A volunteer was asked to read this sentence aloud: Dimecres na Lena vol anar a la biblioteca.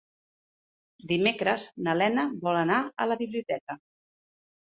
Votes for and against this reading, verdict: 2, 0, accepted